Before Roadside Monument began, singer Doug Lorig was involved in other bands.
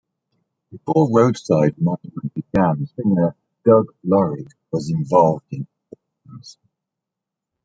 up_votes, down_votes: 1, 2